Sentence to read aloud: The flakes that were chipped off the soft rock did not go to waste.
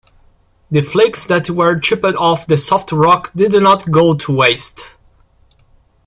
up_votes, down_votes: 0, 2